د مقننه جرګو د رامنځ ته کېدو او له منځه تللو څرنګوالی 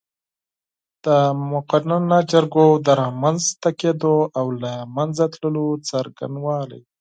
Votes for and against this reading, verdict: 0, 4, rejected